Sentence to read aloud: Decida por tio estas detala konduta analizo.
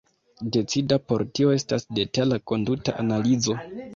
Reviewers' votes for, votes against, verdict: 2, 0, accepted